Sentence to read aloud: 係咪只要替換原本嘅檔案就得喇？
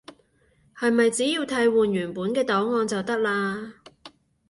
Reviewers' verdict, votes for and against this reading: accepted, 2, 0